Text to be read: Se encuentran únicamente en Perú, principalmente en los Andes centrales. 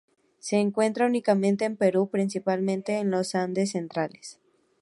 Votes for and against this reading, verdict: 0, 2, rejected